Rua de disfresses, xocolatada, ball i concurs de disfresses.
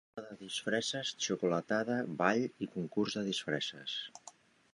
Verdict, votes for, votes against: rejected, 0, 2